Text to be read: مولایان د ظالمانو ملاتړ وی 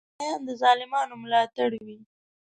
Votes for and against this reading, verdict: 3, 4, rejected